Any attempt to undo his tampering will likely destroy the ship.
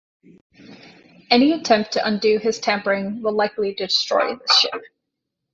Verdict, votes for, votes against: rejected, 1, 2